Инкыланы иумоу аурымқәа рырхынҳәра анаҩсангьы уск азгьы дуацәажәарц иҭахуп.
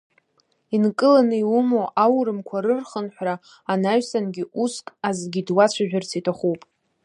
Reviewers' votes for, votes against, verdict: 1, 2, rejected